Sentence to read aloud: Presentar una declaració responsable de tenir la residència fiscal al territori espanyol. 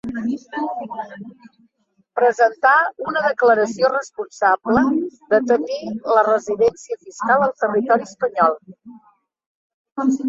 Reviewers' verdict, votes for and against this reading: rejected, 0, 2